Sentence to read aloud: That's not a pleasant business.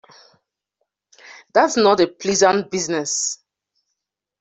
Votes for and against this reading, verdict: 2, 0, accepted